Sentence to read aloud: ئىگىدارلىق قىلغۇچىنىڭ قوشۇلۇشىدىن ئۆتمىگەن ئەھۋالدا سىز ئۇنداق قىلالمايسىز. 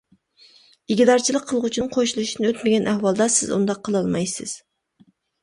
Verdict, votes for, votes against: rejected, 0, 2